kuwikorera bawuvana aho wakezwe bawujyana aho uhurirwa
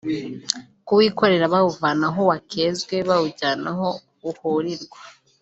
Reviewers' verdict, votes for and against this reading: accepted, 2, 0